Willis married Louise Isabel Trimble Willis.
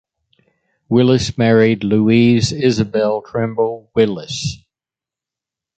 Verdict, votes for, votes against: accepted, 2, 0